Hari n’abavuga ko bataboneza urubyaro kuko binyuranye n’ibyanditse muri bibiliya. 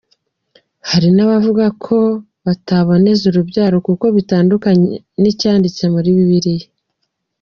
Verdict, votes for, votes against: accepted, 2, 1